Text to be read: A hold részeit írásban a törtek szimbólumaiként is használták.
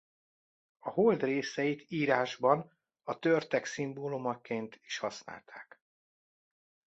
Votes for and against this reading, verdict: 1, 2, rejected